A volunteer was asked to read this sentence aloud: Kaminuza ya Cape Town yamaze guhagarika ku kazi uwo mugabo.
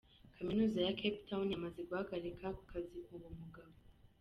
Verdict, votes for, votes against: rejected, 0, 2